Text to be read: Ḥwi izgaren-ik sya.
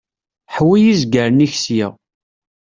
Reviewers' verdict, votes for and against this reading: accepted, 2, 0